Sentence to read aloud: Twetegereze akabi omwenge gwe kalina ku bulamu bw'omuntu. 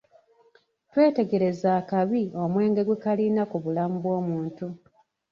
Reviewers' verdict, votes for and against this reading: rejected, 0, 2